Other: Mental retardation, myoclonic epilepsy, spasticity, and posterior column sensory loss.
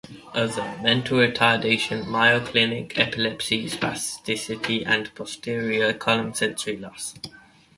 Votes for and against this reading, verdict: 2, 1, accepted